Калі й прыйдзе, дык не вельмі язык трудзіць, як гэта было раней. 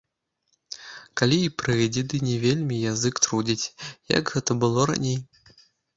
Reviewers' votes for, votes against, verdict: 1, 2, rejected